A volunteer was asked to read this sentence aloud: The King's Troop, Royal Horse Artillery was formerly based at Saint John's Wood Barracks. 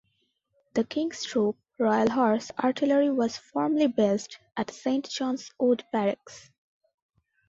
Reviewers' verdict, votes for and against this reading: accepted, 2, 0